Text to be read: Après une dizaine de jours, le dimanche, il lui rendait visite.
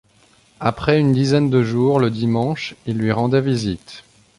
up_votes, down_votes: 2, 0